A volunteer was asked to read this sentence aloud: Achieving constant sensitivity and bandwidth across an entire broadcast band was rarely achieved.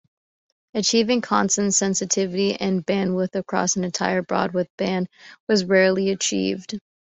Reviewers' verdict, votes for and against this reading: accepted, 2, 1